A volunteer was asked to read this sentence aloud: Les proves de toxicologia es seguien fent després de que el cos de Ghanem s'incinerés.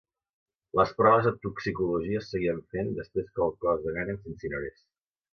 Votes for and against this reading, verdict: 1, 2, rejected